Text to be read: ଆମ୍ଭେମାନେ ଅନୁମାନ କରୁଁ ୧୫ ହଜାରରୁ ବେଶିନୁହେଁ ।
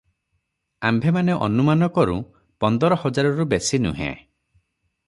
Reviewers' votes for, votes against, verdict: 0, 2, rejected